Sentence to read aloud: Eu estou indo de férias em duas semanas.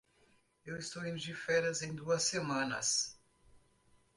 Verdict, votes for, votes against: accepted, 2, 0